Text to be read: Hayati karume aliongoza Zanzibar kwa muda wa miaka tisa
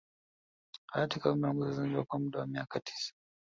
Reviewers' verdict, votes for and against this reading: rejected, 0, 2